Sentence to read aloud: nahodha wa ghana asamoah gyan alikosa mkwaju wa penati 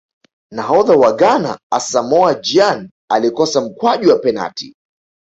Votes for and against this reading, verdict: 0, 2, rejected